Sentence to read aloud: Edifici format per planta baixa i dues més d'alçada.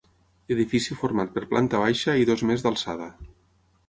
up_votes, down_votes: 0, 6